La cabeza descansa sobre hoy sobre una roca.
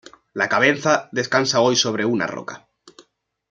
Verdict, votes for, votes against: rejected, 1, 2